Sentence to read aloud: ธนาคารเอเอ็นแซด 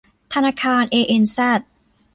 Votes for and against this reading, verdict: 2, 0, accepted